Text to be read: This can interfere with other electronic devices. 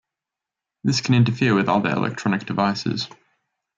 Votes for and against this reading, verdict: 2, 0, accepted